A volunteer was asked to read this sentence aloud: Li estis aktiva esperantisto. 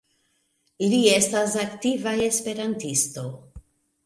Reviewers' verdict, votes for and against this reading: rejected, 0, 3